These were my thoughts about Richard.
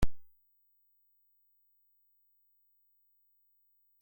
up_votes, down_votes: 0, 2